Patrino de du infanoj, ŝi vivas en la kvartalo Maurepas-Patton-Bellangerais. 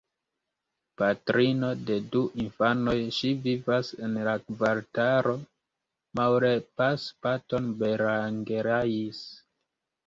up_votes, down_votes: 0, 2